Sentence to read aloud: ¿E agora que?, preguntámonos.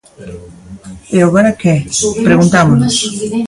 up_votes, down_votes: 2, 1